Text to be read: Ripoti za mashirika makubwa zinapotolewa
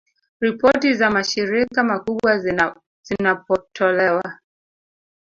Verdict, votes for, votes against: rejected, 0, 2